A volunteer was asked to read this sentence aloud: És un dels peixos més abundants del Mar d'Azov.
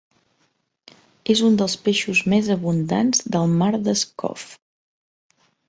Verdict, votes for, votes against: rejected, 1, 2